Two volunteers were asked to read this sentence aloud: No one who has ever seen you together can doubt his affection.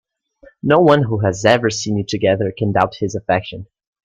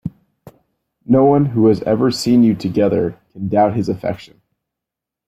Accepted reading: first